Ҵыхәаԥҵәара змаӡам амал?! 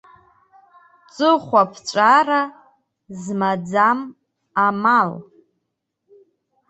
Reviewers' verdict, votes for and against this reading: rejected, 0, 2